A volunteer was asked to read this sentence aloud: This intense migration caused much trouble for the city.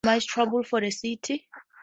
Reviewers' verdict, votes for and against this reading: accepted, 4, 0